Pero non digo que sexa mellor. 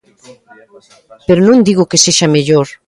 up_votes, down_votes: 2, 0